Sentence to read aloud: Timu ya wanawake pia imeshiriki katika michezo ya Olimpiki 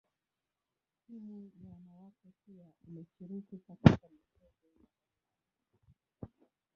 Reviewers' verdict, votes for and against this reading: rejected, 1, 2